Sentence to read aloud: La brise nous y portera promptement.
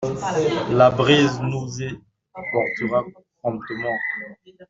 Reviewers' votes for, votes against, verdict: 0, 2, rejected